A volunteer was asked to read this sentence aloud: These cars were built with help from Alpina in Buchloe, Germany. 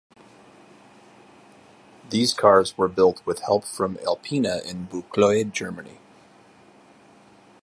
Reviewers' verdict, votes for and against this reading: accepted, 2, 0